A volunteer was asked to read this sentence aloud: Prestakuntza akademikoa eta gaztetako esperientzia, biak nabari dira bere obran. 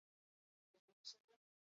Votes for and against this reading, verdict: 2, 4, rejected